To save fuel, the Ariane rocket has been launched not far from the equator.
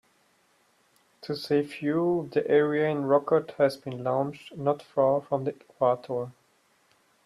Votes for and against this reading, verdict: 0, 2, rejected